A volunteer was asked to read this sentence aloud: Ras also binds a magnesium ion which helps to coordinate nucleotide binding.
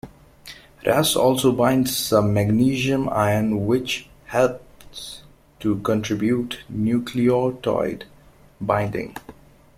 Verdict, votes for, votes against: rejected, 0, 2